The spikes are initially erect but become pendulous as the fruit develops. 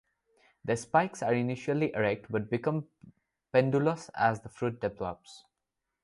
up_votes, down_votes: 0, 2